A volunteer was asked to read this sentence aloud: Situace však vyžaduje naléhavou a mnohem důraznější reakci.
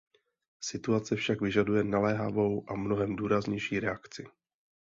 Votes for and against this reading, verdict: 2, 0, accepted